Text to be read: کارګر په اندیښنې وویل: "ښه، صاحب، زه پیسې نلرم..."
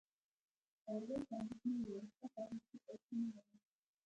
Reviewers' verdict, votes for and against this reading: rejected, 2, 3